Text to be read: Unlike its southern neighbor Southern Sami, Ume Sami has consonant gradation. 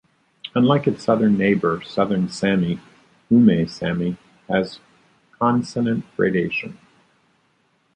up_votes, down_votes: 2, 0